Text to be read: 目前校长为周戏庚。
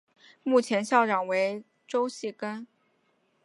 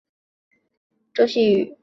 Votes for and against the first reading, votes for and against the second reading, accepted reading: 8, 0, 0, 2, first